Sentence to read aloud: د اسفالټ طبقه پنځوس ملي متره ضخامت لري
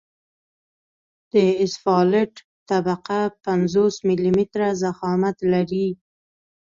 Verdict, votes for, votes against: accepted, 2, 0